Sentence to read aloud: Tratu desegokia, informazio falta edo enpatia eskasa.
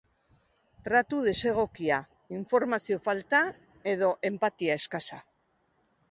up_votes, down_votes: 0, 2